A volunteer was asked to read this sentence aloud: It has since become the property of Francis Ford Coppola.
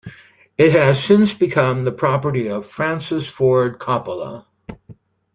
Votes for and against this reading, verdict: 2, 0, accepted